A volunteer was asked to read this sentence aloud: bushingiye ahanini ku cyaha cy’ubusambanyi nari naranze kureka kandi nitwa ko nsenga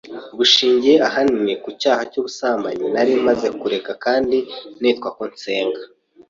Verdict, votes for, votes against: rejected, 0, 2